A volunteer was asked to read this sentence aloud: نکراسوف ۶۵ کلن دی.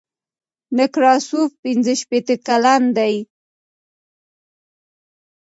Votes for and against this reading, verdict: 0, 2, rejected